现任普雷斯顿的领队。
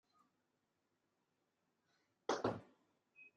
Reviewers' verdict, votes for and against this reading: rejected, 0, 2